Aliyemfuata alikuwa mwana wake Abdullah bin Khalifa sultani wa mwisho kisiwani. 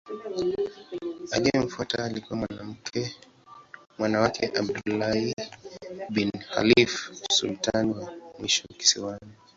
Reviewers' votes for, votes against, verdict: 0, 2, rejected